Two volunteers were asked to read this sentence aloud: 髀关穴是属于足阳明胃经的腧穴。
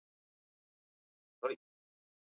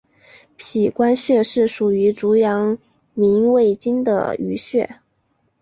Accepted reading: second